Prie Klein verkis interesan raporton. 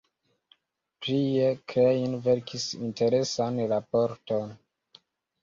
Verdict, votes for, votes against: rejected, 1, 2